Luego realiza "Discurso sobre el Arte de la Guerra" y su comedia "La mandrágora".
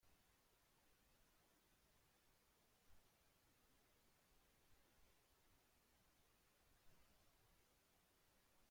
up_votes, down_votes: 0, 2